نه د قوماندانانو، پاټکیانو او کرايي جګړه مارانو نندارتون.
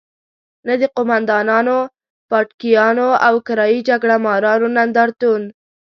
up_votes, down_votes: 1, 2